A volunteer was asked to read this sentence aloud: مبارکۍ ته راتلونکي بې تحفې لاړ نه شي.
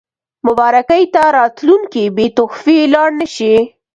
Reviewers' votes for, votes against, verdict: 2, 0, accepted